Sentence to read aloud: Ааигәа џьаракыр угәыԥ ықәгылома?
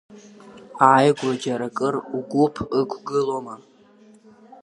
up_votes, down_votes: 0, 2